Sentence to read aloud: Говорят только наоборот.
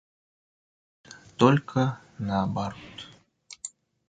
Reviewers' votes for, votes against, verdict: 0, 2, rejected